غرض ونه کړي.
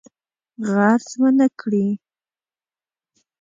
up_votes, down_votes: 0, 2